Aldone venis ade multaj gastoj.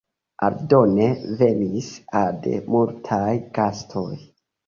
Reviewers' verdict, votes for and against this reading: accepted, 2, 1